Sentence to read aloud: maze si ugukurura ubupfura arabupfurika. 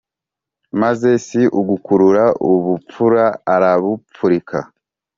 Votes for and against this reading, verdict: 2, 0, accepted